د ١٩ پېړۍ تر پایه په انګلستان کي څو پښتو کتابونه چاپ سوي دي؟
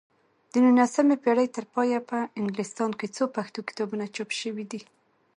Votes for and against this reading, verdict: 0, 2, rejected